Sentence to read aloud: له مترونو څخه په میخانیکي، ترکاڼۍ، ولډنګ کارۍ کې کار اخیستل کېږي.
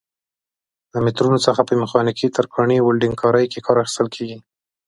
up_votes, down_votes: 2, 0